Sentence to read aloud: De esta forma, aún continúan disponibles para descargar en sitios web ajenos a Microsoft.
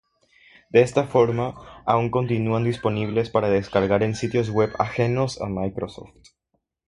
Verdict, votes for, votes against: rejected, 0, 3